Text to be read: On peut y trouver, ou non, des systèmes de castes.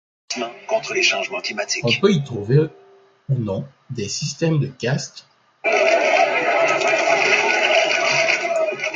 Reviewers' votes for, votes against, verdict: 0, 2, rejected